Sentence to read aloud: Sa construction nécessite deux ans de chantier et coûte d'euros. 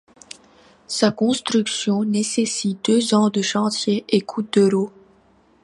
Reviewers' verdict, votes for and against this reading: accepted, 2, 0